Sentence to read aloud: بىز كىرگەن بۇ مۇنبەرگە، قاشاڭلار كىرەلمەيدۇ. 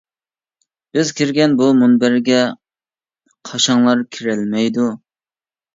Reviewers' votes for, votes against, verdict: 2, 0, accepted